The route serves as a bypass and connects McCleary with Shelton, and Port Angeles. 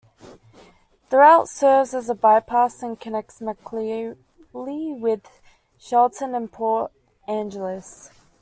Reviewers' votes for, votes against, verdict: 0, 2, rejected